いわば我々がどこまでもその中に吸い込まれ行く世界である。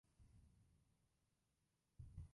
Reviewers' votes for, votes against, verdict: 0, 2, rejected